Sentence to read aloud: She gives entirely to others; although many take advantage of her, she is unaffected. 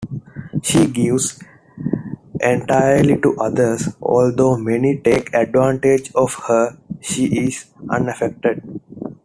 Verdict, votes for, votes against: accepted, 2, 1